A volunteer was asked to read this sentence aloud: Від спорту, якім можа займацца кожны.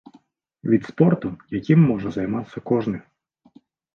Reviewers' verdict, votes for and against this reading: accepted, 2, 0